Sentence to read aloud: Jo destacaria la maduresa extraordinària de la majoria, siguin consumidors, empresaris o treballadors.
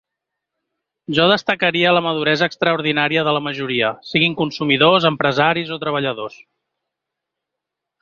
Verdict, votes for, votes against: accepted, 3, 0